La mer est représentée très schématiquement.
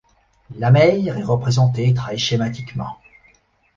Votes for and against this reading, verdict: 2, 0, accepted